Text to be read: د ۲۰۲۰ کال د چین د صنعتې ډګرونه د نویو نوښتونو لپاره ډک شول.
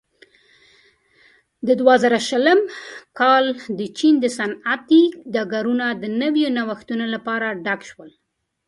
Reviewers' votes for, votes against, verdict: 0, 2, rejected